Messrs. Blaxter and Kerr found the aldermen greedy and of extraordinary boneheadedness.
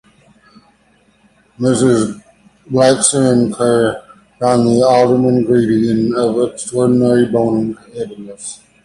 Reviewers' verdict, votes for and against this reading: rejected, 1, 3